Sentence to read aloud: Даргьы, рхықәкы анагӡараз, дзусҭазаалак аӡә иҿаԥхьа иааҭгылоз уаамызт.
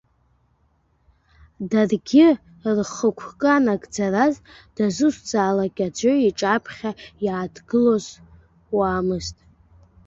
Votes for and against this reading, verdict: 1, 2, rejected